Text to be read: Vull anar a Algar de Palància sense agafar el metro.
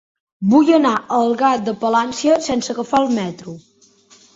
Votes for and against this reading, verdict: 2, 0, accepted